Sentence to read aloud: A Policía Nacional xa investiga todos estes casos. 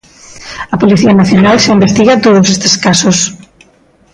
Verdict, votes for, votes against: accepted, 2, 0